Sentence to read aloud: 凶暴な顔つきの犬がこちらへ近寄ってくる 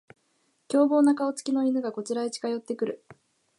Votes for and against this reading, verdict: 3, 0, accepted